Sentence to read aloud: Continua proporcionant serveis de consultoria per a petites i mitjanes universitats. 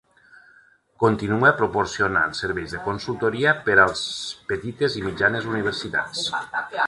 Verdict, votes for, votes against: rejected, 0, 2